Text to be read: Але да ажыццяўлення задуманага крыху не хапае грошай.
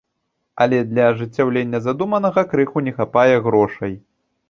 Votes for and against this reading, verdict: 1, 2, rejected